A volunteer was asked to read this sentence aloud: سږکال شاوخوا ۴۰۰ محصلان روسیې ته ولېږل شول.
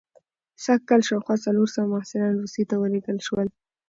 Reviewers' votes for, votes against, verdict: 0, 2, rejected